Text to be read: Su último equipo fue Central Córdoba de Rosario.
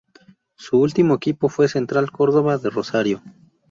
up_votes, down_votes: 2, 0